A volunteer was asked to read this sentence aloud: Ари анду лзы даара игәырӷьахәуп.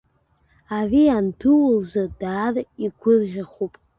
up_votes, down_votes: 2, 1